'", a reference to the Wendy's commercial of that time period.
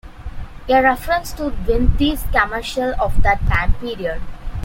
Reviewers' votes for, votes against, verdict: 1, 2, rejected